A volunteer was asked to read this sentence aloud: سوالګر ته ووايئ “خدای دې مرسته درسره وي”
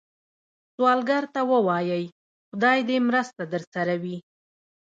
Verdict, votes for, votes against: accepted, 2, 0